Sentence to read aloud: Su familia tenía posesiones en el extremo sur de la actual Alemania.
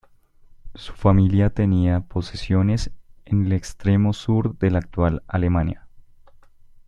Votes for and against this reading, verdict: 2, 0, accepted